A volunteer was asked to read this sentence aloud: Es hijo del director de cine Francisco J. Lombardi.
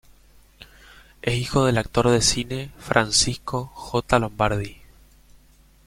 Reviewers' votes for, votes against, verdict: 1, 2, rejected